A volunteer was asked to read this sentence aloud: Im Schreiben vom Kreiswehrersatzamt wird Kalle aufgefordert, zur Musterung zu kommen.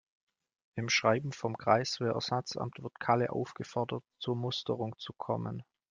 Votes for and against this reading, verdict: 2, 1, accepted